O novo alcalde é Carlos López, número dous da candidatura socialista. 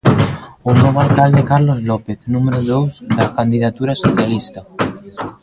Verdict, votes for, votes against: rejected, 0, 2